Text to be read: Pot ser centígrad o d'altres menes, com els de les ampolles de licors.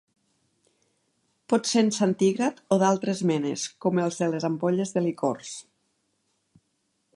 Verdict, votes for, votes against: rejected, 1, 2